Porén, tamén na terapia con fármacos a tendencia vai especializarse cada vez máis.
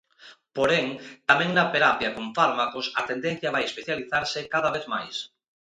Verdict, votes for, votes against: accepted, 2, 0